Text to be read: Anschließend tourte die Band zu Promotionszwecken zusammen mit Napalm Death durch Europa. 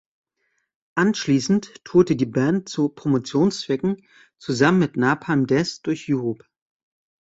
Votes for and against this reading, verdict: 0, 2, rejected